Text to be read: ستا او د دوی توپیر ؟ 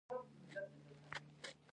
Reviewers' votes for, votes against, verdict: 0, 2, rejected